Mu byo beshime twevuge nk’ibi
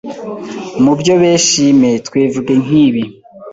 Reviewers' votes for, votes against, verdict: 0, 2, rejected